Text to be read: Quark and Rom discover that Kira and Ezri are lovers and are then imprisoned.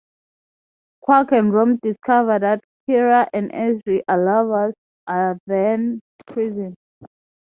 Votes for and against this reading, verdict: 3, 3, rejected